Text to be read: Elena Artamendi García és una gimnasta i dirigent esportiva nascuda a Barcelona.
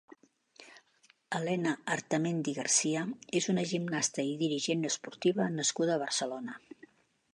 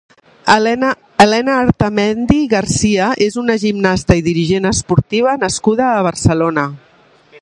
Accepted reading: first